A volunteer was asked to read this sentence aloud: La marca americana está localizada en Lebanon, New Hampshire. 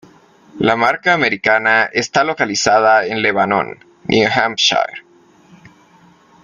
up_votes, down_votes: 1, 2